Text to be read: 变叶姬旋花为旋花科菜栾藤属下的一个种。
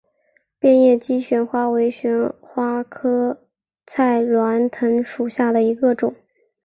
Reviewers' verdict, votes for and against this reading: accepted, 2, 0